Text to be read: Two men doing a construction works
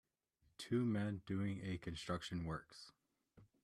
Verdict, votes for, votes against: accepted, 2, 0